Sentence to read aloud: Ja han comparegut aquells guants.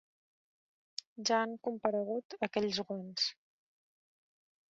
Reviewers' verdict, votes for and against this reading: rejected, 0, 2